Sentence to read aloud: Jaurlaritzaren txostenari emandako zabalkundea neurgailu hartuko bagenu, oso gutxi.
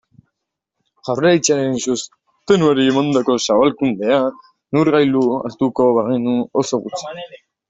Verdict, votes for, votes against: rejected, 0, 2